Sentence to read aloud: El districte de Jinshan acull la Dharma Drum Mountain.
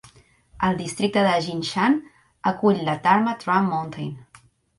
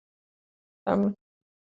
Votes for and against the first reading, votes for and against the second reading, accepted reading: 2, 0, 0, 2, first